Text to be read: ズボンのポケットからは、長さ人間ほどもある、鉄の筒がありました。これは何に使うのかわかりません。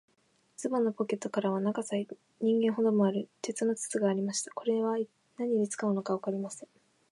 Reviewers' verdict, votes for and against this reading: rejected, 3, 4